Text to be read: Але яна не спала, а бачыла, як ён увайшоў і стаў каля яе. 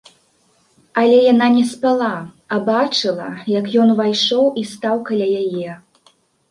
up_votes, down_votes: 2, 1